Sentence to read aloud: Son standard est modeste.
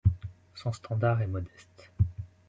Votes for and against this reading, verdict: 2, 0, accepted